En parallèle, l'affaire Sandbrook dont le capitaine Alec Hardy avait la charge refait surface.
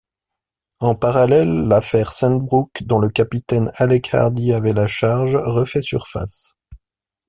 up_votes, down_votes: 1, 2